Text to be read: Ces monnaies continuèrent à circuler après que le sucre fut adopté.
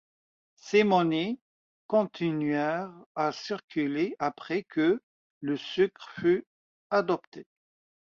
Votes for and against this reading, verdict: 2, 1, accepted